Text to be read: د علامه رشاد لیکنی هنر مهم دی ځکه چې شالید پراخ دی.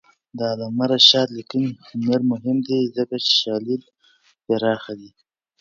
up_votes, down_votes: 1, 2